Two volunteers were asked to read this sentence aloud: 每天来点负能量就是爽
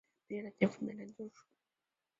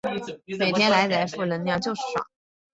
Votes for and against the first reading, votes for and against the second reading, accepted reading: 0, 3, 2, 0, second